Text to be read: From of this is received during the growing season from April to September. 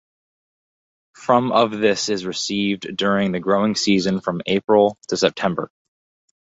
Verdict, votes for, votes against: accepted, 4, 0